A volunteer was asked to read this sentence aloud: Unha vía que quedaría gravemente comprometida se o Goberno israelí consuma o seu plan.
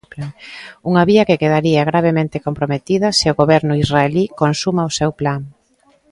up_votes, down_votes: 2, 1